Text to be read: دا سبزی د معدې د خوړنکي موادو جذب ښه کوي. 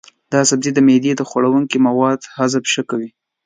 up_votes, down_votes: 0, 2